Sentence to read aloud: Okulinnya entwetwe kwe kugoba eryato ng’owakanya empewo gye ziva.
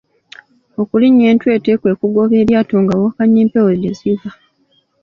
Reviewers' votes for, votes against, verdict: 1, 2, rejected